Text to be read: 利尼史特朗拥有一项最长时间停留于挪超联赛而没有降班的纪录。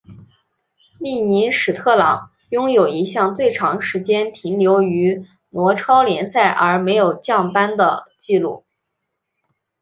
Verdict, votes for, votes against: accepted, 6, 2